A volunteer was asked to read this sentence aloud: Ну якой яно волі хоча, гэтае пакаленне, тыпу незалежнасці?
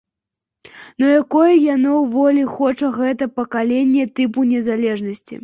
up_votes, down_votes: 2, 1